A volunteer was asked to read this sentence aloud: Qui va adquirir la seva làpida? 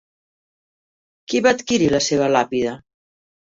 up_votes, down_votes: 5, 0